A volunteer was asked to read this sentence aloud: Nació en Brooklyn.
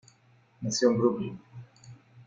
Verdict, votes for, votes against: accepted, 2, 0